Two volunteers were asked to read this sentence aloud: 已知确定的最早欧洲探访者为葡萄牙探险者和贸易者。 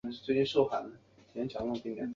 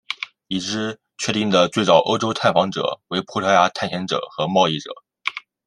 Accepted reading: second